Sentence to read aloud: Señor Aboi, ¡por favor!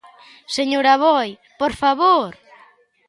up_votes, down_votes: 2, 0